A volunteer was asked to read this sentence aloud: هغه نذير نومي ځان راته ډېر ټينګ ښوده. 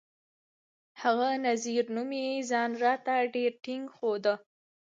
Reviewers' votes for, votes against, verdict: 2, 1, accepted